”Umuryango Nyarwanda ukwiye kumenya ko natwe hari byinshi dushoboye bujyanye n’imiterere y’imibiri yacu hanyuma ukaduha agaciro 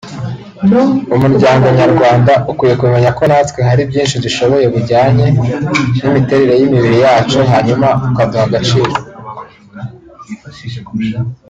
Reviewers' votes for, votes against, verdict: 1, 2, rejected